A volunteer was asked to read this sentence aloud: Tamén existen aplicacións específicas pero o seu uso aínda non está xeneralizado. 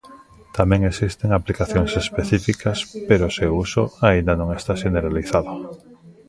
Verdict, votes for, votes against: rejected, 1, 2